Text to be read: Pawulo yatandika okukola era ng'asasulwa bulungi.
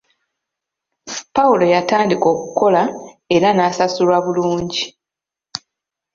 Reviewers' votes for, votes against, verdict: 2, 0, accepted